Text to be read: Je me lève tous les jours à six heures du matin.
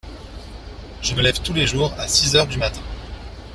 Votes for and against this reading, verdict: 2, 0, accepted